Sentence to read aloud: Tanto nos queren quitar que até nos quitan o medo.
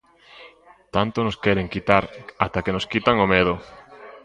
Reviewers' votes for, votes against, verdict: 0, 2, rejected